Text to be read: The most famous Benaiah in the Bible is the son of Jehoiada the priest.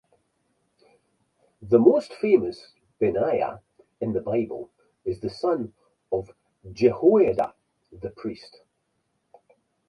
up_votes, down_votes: 4, 0